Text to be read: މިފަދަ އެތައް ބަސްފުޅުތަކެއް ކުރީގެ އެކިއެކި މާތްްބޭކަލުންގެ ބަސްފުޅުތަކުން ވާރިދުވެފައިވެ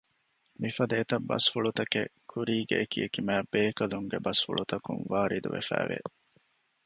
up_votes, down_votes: 2, 0